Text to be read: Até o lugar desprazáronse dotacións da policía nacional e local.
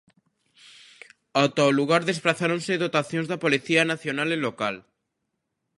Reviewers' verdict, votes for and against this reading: rejected, 1, 2